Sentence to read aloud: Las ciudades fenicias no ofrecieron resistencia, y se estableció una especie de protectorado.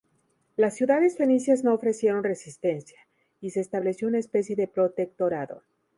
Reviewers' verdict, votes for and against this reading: accepted, 4, 0